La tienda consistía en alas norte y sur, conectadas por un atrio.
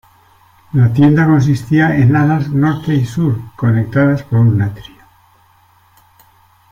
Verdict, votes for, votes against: rejected, 0, 2